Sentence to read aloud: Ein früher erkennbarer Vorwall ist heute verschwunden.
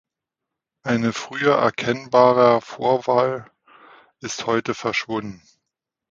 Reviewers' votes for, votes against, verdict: 0, 2, rejected